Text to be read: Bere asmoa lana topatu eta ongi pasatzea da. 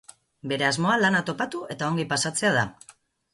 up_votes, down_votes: 4, 0